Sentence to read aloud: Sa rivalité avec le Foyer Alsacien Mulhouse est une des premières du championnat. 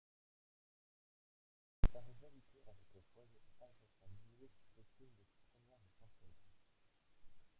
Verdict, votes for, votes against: rejected, 1, 2